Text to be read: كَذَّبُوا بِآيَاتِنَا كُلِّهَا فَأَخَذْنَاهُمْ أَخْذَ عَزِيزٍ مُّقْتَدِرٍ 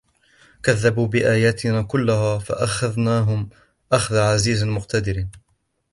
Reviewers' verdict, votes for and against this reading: accepted, 2, 0